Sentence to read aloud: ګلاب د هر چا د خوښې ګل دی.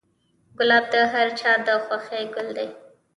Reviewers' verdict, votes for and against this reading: accepted, 2, 0